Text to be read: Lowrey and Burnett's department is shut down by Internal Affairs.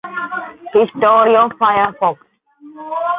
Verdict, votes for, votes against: rejected, 0, 2